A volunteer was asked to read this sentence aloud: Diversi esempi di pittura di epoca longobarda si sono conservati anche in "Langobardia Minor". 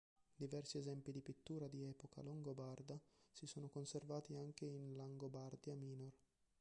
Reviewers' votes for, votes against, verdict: 1, 3, rejected